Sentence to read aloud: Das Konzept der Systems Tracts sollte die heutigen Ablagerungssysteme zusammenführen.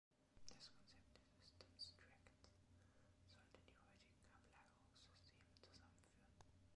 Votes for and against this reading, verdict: 0, 2, rejected